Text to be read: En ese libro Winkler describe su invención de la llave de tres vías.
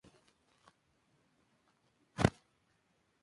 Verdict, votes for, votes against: rejected, 0, 2